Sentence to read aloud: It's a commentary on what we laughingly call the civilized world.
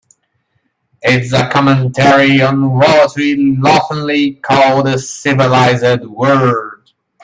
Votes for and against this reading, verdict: 0, 2, rejected